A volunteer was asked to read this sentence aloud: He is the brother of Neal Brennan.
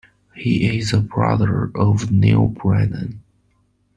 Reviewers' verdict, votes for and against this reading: accepted, 2, 0